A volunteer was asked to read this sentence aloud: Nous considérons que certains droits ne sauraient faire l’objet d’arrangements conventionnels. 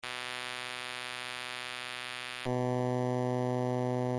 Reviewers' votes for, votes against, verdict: 0, 2, rejected